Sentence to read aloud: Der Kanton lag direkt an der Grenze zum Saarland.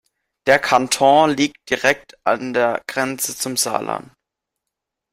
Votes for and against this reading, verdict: 2, 1, accepted